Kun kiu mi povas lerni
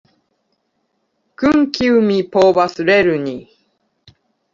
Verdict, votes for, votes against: accepted, 2, 0